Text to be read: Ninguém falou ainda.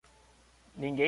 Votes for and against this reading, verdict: 0, 2, rejected